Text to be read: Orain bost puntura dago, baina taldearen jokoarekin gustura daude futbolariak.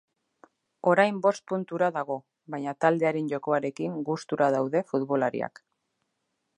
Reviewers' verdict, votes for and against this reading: accepted, 2, 0